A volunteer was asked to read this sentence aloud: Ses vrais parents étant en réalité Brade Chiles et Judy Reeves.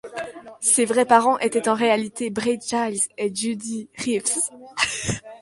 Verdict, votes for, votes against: rejected, 1, 2